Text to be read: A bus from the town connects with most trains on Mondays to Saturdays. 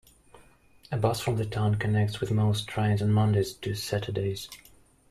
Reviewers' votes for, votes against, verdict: 2, 0, accepted